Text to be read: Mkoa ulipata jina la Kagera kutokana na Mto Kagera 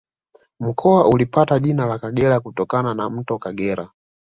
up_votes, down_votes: 2, 0